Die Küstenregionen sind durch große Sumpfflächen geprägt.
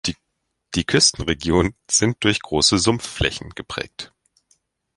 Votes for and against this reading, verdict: 0, 2, rejected